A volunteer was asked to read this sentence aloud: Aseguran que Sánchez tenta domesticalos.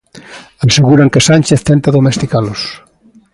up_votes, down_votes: 2, 0